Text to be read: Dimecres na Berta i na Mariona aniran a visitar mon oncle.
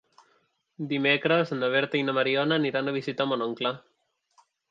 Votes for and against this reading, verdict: 2, 0, accepted